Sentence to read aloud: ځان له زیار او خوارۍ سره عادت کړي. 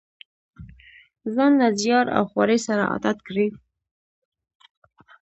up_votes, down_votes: 0, 2